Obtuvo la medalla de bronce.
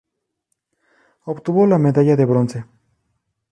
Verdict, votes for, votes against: rejected, 2, 2